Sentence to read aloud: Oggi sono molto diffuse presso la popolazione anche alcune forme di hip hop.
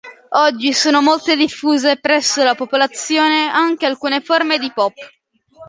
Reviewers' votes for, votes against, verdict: 2, 0, accepted